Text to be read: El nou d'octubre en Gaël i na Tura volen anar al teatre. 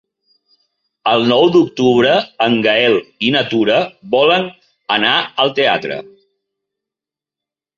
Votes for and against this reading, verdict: 3, 0, accepted